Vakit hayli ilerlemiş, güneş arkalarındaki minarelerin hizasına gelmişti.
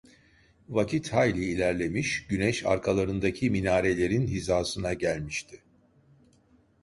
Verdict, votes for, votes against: rejected, 1, 2